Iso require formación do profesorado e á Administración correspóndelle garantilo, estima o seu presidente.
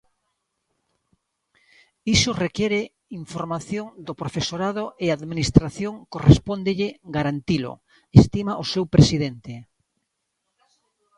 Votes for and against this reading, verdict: 0, 3, rejected